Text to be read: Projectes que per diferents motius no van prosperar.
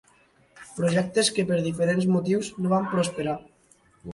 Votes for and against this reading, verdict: 1, 2, rejected